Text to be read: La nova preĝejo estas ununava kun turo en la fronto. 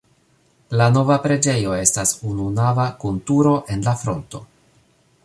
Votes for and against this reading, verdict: 2, 0, accepted